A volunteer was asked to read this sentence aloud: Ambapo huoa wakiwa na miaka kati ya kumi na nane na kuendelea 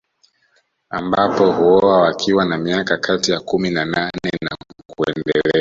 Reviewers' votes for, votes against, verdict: 1, 2, rejected